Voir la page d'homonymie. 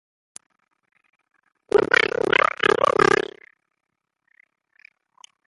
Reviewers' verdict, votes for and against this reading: rejected, 0, 2